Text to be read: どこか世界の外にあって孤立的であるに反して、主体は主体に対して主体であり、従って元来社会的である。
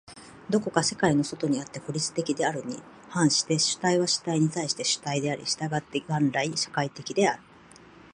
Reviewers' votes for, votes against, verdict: 6, 0, accepted